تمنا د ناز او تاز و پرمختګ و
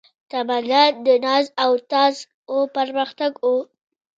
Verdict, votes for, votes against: rejected, 0, 2